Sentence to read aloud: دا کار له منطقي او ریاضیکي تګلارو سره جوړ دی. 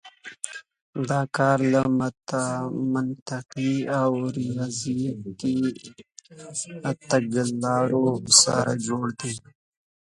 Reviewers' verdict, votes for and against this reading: rejected, 1, 3